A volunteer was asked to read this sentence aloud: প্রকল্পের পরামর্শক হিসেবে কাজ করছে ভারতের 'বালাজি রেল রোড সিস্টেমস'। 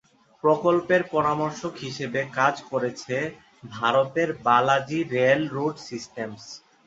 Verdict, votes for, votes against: accepted, 2, 0